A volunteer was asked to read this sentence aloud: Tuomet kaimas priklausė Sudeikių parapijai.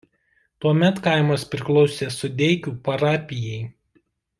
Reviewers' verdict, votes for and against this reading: accepted, 2, 0